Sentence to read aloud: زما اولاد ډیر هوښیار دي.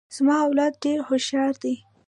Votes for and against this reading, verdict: 1, 2, rejected